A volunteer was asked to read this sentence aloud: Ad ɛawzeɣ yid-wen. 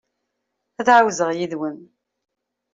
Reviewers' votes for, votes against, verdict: 2, 0, accepted